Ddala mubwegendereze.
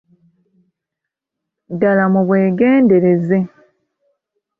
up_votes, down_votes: 2, 0